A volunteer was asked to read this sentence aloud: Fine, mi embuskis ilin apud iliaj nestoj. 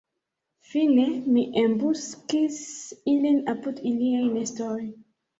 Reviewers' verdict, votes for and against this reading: accepted, 2, 1